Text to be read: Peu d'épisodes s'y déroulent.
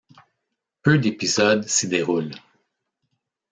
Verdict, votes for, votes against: accepted, 2, 0